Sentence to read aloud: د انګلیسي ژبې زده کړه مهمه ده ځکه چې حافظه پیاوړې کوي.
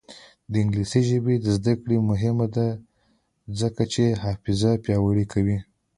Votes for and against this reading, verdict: 2, 0, accepted